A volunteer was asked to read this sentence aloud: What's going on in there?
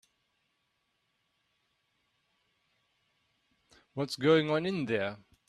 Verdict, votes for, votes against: accepted, 3, 0